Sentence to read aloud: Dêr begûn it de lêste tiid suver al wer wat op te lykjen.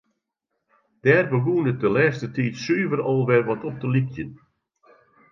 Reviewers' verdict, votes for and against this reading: accepted, 2, 0